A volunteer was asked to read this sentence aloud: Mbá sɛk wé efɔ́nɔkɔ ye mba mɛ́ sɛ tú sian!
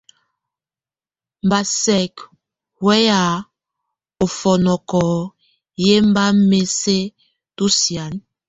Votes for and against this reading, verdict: 0, 2, rejected